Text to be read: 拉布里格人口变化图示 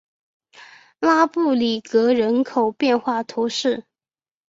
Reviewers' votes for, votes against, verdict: 2, 0, accepted